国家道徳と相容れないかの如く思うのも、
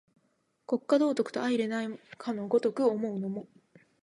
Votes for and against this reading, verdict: 3, 1, accepted